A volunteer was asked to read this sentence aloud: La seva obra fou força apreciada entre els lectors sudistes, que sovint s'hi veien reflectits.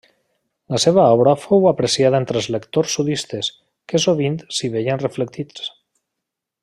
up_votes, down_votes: 0, 2